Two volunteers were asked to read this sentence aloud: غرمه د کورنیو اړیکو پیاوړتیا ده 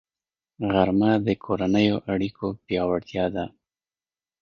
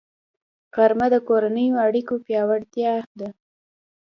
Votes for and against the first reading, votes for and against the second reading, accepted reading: 2, 0, 1, 2, first